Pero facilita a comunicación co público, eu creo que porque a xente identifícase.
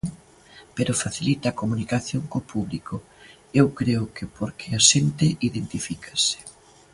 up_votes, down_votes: 3, 0